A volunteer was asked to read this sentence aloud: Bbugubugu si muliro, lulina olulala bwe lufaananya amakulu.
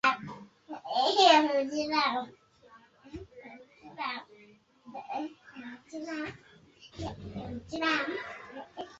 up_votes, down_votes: 0, 2